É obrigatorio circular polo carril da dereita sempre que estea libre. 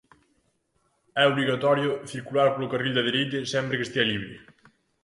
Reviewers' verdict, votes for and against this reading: accepted, 2, 1